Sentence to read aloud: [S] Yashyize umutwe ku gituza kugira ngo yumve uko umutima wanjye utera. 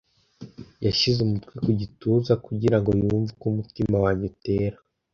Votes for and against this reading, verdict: 2, 0, accepted